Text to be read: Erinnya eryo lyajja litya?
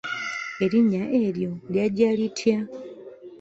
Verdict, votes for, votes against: accepted, 2, 0